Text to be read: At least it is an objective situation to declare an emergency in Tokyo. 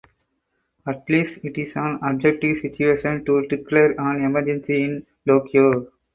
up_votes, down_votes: 2, 2